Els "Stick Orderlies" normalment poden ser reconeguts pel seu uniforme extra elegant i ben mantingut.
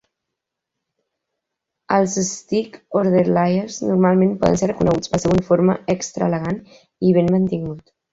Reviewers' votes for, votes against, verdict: 1, 2, rejected